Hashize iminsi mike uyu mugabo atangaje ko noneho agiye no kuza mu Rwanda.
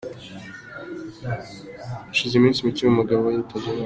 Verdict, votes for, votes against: rejected, 0, 2